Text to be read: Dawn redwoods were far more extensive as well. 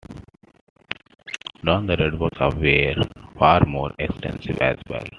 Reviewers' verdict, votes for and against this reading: rejected, 0, 2